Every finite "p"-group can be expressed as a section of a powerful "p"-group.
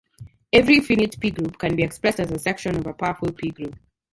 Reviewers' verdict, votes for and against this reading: rejected, 0, 2